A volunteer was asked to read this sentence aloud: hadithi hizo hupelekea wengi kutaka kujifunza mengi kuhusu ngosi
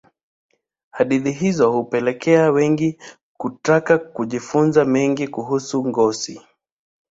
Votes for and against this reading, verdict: 2, 1, accepted